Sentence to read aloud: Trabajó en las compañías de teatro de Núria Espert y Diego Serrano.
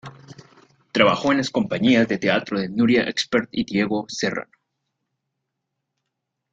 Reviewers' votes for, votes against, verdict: 2, 0, accepted